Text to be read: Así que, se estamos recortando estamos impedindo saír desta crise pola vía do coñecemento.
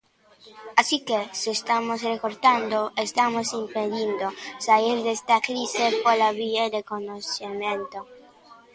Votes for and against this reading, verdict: 0, 2, rejected